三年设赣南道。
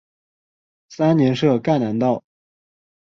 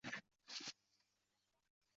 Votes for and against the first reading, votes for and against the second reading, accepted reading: 2, 0, 0, 2, first